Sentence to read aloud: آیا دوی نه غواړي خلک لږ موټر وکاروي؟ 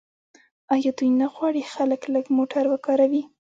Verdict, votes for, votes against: rejected, 1, 2